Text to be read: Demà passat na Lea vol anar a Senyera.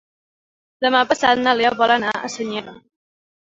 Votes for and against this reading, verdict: 1, 2, rejected